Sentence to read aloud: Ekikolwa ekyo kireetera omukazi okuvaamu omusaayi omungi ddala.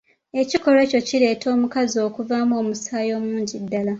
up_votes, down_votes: 2, 1